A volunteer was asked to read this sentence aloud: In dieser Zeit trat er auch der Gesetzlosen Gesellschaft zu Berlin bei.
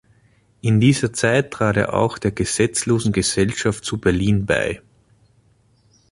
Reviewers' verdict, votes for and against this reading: accepted, 2, 0